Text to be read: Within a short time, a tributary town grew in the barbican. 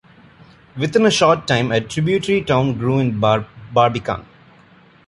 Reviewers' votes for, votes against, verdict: 1, 2, rejected